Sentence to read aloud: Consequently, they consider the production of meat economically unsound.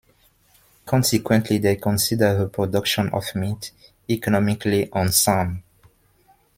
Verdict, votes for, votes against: accepted, 2, 1